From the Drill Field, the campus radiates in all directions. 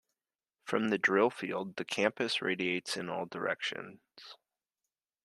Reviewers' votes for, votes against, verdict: 2, 0, accepted